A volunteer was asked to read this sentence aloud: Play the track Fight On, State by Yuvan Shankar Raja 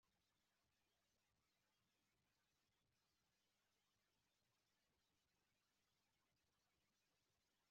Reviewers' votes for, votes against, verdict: 0, 2, rejected